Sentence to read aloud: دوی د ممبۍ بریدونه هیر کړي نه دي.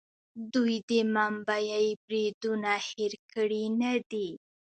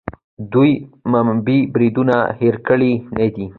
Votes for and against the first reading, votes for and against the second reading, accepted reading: 1, 2, 2, 0, second